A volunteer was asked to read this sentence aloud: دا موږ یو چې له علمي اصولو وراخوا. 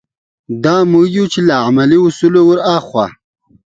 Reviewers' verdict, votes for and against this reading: accepted, 2, 0